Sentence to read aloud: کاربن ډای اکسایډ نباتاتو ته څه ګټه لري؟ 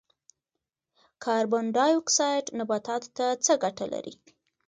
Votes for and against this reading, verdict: 2, 0, accepted